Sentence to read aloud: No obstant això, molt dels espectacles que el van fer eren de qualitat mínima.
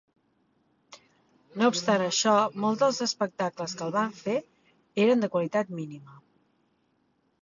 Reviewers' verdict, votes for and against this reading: accepted, 3, 0